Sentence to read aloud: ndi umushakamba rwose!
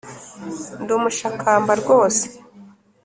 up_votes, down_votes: 3, 0